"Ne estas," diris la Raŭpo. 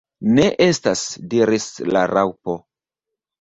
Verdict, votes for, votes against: rejected, 1, 2